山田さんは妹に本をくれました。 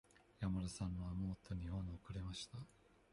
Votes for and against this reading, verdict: 1, 2, rejected